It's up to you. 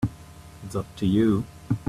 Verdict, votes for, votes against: accepted, 2, 0